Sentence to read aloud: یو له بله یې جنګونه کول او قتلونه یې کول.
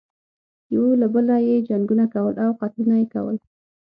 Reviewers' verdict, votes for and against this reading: accepted, 9, 0